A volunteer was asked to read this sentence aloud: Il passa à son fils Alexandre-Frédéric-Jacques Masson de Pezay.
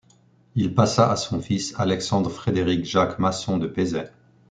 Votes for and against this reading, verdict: 2, 0, accepted